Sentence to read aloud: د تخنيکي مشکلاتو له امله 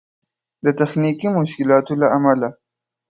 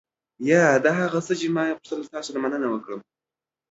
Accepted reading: first